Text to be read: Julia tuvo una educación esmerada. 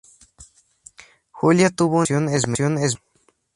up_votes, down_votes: 0, 2